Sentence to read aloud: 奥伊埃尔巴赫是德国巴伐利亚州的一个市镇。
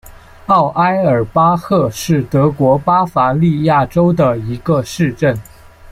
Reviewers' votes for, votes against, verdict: 1, 2, rejected